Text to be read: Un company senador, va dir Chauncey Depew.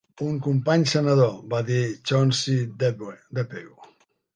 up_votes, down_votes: 0, 2